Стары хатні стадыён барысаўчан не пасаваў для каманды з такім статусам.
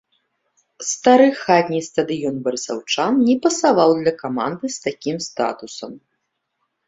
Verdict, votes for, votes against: accepted, 2, 0